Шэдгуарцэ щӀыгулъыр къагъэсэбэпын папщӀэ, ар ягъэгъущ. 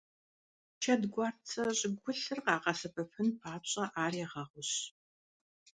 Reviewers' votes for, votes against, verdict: 2, 1, accepted